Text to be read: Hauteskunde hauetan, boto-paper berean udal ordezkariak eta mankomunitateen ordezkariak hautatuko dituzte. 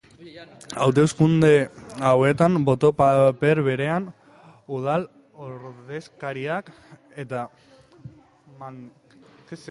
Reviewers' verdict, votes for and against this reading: rejected, 0, 2